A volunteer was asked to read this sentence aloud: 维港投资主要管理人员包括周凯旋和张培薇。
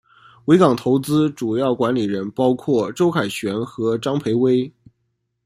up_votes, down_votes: 0, 2